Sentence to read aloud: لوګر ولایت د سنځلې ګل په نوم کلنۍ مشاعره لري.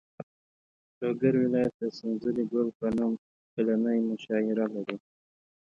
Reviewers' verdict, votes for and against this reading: accepted, 2, 0